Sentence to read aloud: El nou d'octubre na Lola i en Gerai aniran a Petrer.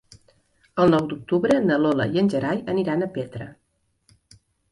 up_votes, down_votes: 0, 2